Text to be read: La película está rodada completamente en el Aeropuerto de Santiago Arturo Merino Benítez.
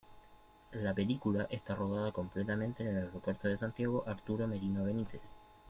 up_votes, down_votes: 2, 1